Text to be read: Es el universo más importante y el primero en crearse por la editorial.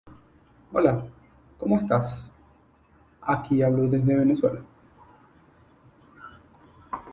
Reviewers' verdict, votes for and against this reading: rejected, 0, 2